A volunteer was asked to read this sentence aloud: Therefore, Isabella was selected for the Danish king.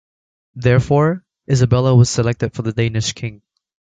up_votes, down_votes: 2, 0